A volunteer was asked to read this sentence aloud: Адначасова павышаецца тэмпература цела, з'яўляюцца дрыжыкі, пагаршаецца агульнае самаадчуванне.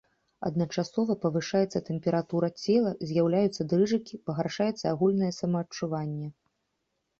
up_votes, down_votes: 3, 0